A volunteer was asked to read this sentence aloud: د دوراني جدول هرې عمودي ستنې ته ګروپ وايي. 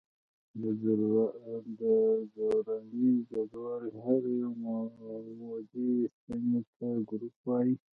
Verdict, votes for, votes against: rejected, 0, 2